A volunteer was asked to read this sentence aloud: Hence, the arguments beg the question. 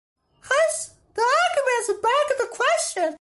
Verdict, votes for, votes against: accepted, 2, 1